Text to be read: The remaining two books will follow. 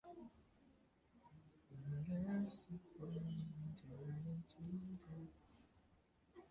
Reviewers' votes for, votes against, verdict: 0, 2, rejected